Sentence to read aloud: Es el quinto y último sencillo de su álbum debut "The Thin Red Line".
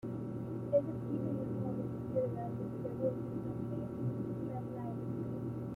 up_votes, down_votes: 0, 2